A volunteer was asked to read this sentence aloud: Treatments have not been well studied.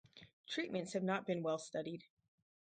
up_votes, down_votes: 0, 2